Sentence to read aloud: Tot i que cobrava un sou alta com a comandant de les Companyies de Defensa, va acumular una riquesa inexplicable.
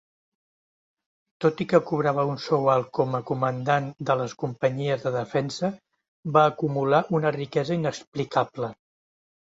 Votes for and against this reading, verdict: 1, 2, rejected